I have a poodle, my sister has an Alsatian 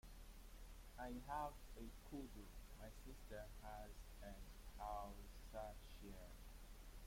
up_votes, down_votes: 1, 2